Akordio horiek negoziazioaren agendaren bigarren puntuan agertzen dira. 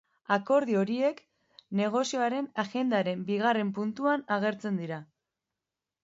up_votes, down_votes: 1, 2